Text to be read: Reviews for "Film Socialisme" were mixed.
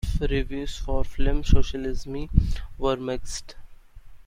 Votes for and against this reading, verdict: 0, 2, rejected